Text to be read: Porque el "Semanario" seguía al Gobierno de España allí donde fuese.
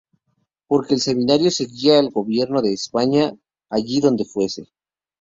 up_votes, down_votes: 0, 2